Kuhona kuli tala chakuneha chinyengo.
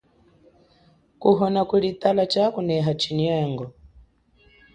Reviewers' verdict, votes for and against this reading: accepted, 2, 0